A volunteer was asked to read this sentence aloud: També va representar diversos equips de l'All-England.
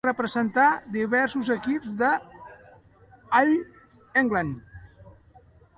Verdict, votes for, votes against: rejected, 0, 2